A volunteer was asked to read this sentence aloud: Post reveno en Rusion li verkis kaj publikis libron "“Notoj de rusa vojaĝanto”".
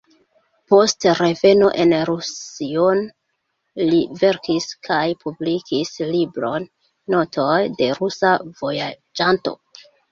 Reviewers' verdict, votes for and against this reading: rejected, 0, 2